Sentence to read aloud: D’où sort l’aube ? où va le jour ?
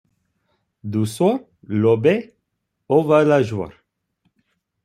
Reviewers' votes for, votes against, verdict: 0, 2, rejected